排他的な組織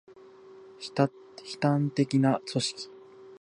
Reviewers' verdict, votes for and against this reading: rejected, 0, 2